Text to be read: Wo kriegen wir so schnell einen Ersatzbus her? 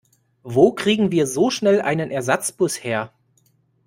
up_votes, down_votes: 2, 0